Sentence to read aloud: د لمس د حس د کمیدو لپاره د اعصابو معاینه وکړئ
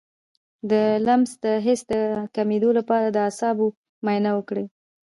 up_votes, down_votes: 1, 2